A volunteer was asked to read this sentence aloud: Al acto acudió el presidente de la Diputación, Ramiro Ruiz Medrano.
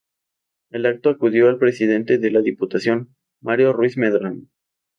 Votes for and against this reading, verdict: 2, 4, rejected